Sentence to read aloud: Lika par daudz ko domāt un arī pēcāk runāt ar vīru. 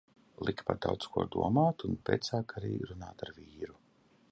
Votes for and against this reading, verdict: 0, 2, rejected